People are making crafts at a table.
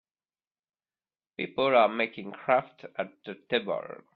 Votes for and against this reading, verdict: 0, 2, rejected